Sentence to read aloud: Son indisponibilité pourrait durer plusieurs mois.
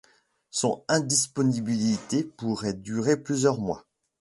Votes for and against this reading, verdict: 0, 2, rejected